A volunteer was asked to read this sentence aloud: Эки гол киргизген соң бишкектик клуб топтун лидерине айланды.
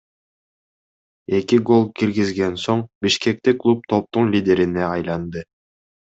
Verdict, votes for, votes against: accepted, 2, 0